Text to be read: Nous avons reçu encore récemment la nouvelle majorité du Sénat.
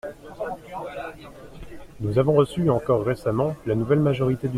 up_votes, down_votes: 0, 2